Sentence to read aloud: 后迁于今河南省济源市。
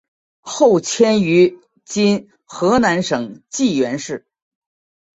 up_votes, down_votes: 2, 0